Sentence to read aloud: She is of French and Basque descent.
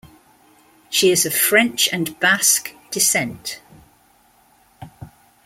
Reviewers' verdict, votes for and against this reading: accepted, 2, 0